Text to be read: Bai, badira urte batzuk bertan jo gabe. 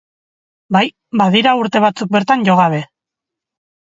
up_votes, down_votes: 2, 0